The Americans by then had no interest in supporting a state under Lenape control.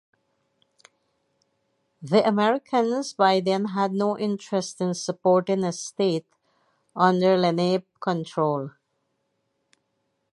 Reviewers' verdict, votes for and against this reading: accepted, 4, 0